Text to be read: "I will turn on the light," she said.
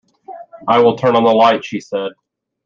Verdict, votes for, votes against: accepted, 2, 0